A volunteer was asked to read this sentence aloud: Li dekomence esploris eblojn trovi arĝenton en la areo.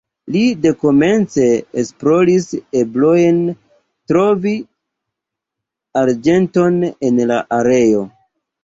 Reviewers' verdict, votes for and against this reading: rejected, 2, 3